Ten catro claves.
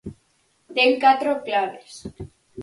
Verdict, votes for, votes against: accepted, 4, 0